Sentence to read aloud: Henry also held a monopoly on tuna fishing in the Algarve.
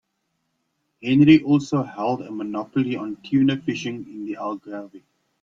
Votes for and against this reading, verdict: 2, 1, accepted